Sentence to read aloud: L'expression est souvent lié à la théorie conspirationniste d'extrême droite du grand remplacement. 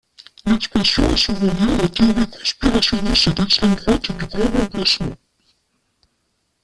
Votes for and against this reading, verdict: 1, 2, rejected